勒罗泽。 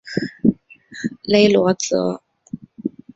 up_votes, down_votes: 3, 0